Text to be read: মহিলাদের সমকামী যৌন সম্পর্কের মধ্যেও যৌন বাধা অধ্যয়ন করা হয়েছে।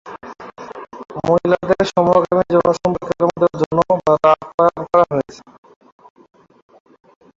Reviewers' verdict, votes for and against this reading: rejected, 0, 2